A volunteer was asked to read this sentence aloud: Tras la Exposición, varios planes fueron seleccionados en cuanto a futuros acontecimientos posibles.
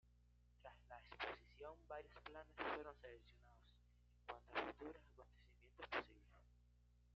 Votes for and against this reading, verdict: 1, 2, rejected